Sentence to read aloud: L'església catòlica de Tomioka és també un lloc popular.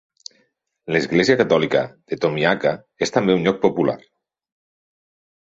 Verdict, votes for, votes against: rejected, 1, 2